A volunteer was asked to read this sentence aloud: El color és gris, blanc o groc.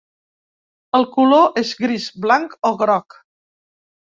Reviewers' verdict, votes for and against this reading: accepted, 2, 0